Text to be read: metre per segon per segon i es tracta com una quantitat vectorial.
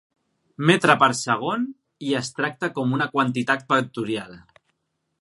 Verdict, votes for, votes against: rejected, 0, 2